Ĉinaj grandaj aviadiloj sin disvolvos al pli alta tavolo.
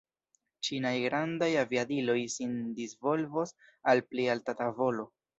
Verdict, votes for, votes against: accepted, 2, 1